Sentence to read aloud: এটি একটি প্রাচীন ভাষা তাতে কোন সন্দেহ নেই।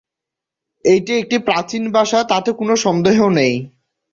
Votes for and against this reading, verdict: 0, 2, rejected